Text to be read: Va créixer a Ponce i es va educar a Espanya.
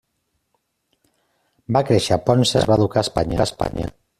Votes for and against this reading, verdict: 0, 2, rejected